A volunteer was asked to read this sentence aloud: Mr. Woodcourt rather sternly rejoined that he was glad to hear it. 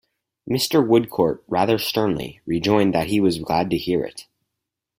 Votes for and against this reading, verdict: 4, 0, accepted